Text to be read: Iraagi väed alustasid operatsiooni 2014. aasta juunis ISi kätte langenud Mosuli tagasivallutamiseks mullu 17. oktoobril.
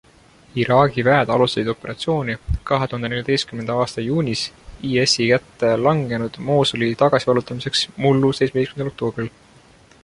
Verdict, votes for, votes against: rejected, 0, 2